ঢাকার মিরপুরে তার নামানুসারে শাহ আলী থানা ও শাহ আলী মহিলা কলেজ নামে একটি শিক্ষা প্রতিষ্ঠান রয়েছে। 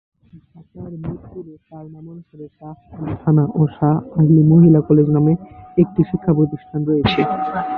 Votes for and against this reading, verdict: 2, 2, rejected